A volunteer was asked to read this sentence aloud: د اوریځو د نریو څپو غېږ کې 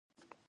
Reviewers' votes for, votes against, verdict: 0, 2, rejected